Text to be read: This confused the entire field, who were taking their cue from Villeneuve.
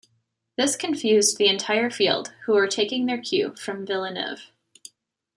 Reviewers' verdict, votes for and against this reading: accepted, 2, 0